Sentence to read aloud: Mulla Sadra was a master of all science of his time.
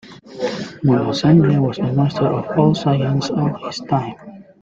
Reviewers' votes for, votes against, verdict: 2, 1, accepted